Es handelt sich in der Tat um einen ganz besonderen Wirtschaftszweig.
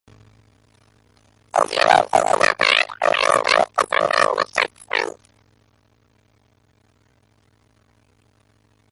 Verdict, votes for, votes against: rejected, 0, 2